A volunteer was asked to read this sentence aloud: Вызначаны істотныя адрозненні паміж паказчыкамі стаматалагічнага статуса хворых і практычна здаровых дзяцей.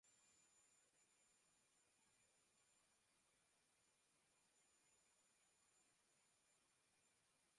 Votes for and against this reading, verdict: 0, 2, rejected